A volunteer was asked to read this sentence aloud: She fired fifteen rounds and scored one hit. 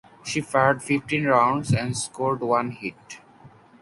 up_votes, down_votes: 4, 0